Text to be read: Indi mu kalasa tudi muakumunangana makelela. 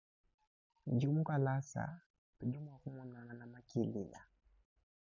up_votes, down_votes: 2, 0